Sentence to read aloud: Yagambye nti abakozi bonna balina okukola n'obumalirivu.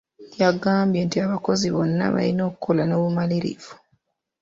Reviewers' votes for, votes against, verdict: 2, 1, accepted